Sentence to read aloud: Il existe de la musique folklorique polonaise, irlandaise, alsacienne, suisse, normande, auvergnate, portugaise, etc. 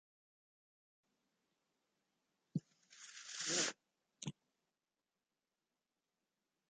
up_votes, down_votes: 0, 2